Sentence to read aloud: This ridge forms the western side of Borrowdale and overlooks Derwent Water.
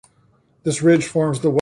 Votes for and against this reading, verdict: 0, 2, rejected